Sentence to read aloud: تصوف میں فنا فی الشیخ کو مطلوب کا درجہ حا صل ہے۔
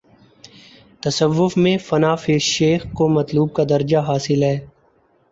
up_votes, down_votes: 3, 0